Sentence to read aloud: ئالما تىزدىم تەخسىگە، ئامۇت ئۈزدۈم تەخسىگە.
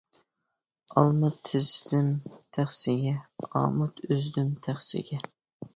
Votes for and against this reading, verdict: 1, 2, rejected